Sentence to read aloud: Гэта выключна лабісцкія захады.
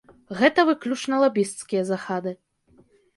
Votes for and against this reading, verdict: 1, 2, rejected